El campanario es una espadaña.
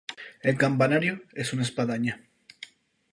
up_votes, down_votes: 4, 0